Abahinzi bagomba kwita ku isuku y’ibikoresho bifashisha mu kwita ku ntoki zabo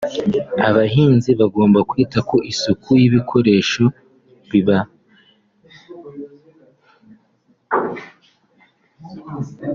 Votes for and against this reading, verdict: 0, 2, rejected